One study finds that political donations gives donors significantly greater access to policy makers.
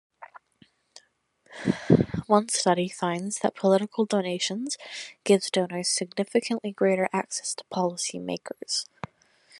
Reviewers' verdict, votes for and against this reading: accepted, 2, 0